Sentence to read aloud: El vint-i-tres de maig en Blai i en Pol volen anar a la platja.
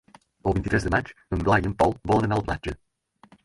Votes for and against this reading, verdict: 4, 2, accepted